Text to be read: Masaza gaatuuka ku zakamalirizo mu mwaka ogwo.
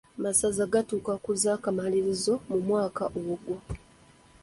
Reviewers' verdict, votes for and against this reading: rejected, 0, 2